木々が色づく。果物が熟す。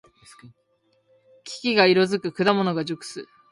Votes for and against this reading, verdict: 2, 0, accepted